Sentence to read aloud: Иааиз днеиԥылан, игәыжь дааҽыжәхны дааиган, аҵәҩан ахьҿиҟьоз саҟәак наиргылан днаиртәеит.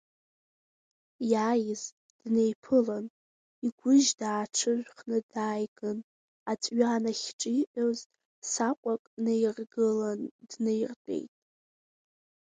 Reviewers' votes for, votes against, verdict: 2, 1, accepted